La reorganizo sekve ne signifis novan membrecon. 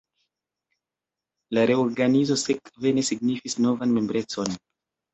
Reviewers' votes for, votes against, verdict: 2, 0, accepted